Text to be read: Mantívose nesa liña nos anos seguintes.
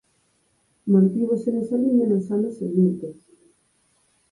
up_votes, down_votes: 4, 0